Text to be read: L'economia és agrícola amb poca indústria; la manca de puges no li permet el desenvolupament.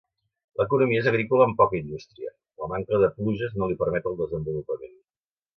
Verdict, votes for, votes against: accepted, 2, 1